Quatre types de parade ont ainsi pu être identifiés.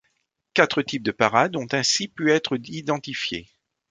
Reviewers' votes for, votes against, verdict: 2, 0, accepted